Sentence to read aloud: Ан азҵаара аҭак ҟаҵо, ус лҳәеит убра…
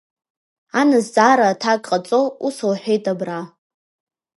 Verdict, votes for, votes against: accepted, 2, 0